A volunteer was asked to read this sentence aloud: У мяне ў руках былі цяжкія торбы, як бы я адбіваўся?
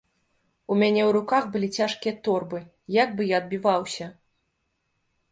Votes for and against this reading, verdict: 2, 0, accepted